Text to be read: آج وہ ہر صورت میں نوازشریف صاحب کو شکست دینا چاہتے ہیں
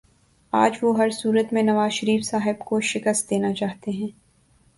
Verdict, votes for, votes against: accepted, 2, 0